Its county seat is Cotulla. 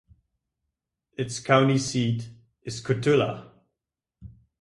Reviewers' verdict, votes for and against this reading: accepted, 2, 0